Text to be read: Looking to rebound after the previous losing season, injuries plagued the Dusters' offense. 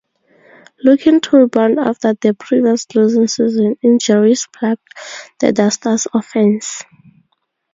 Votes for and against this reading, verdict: 0, 2, rejected